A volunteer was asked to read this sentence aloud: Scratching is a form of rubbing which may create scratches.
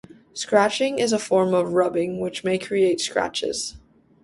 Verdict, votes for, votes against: accepted, 2, 0